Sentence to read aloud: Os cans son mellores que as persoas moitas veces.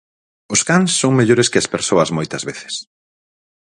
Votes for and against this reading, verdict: 4, 2, accepted